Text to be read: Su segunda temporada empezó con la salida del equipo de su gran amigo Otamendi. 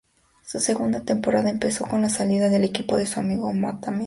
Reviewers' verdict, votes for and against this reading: rejected, 0, 2